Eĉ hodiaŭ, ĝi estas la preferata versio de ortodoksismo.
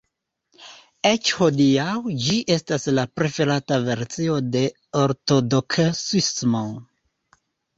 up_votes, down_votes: 2, 3